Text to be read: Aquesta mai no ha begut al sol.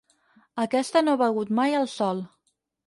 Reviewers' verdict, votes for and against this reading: rejected, 2, 4